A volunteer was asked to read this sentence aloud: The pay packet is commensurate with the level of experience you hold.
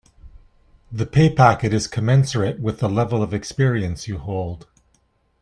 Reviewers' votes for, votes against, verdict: 2, 0, accepted